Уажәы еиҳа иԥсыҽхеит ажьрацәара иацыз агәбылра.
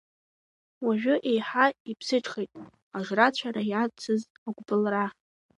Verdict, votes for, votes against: rejected, 0, 2